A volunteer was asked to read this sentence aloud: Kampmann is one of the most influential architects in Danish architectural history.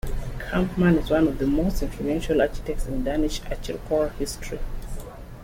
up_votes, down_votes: 0, 2